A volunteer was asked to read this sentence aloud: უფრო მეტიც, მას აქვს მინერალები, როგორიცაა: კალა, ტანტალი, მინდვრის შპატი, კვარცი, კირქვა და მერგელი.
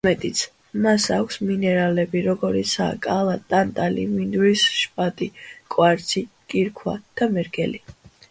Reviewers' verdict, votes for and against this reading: accepted, 2, 1